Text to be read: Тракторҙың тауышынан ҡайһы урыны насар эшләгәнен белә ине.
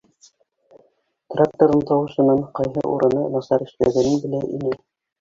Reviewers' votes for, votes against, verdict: 0, 2, rejected